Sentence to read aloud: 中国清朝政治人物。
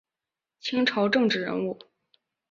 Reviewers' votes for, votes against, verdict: 0, 2, rejected